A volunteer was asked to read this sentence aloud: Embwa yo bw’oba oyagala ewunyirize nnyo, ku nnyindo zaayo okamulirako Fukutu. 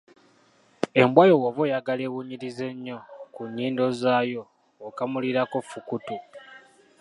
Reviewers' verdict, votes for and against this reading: accepted, 2, 1